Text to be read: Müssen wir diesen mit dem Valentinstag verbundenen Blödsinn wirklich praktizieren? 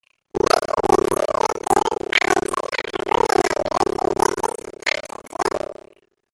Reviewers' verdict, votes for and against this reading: rejected, 0, 3